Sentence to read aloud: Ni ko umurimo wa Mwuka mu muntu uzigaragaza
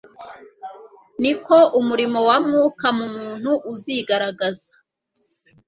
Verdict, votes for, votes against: accepted, 2, 0